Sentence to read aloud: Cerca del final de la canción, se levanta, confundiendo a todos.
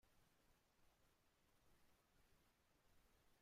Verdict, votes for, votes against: rejected, 0, 2